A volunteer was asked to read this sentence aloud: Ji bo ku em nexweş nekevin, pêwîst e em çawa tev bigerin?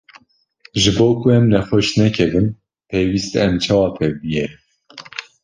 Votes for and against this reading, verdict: 2, 0, accepted